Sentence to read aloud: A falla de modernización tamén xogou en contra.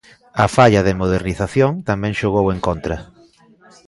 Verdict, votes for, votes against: accepted, 2, 0